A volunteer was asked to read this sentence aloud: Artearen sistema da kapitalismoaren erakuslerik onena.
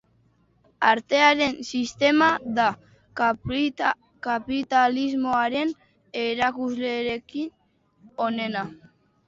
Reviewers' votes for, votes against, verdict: 0, 4, rejected